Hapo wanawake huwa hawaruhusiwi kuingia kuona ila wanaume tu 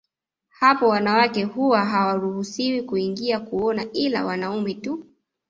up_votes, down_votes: 2, 0